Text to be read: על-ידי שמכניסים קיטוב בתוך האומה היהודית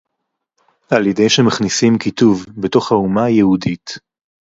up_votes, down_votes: 2, 0